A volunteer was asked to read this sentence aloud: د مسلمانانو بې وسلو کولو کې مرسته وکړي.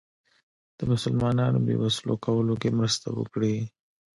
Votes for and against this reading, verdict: 1, 2, rejected